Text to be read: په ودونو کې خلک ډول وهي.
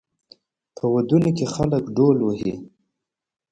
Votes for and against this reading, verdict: 1, 2, rejected